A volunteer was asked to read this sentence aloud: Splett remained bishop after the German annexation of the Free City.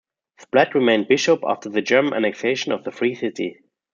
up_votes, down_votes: 2, 0